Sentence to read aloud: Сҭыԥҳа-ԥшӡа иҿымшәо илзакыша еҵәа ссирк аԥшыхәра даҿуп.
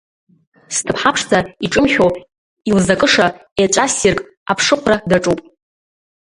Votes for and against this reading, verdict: 1, 2, rejected